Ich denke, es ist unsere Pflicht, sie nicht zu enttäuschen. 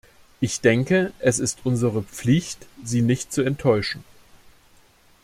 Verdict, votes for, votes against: accepted, 2, 0